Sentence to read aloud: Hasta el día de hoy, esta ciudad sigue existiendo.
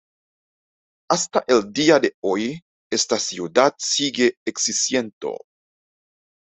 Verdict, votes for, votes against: accepted, 2, 0